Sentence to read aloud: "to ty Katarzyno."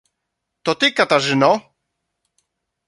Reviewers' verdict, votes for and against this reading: accepted, 2, 0